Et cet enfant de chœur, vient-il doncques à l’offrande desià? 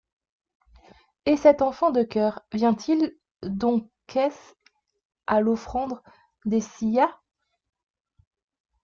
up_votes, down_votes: 0, 2